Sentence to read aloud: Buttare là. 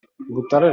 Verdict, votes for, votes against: accepted, 2, 1